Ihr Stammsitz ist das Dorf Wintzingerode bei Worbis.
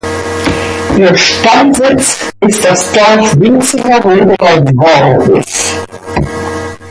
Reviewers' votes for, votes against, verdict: 1, 2, rejected